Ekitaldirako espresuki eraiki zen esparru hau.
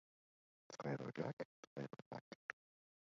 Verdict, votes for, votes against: rejected, 0, 2